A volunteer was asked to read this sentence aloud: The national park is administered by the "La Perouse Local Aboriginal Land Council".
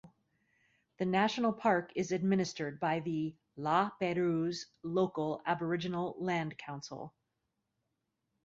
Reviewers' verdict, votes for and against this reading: accepted, 2, 0